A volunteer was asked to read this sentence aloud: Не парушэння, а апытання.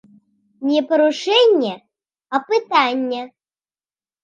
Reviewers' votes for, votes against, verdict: 1, 2, rejected